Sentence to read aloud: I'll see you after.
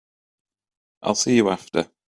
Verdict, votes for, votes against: accepted, 2, 1